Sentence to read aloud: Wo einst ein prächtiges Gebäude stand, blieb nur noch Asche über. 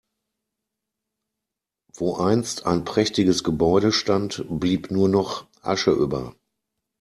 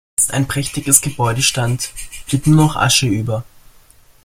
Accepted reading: first